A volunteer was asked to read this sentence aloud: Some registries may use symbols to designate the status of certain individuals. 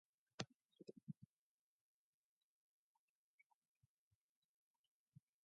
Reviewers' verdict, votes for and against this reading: rejected, 0, 2